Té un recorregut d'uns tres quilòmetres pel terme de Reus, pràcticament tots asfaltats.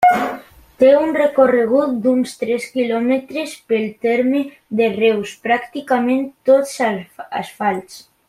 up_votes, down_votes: 0, 2